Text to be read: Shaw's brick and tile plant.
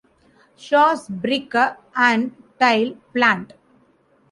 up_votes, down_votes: 2, 1